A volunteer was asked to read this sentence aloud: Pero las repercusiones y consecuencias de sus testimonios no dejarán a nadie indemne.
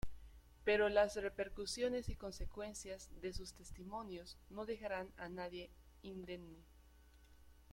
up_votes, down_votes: 2, 1